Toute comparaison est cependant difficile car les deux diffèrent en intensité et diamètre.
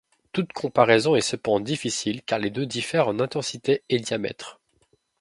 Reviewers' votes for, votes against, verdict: 0, 2, rejected